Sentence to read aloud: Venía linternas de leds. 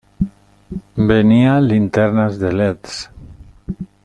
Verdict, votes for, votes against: accepted, 2, 0